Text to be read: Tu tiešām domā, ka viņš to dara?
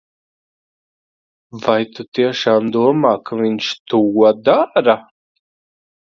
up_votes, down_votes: 1, 2